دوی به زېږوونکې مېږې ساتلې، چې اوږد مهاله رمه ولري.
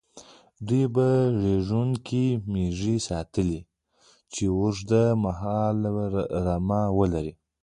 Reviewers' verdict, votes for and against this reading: accepted, 2, 0